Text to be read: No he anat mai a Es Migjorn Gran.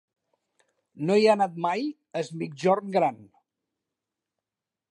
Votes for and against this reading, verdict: 2, 0, accepted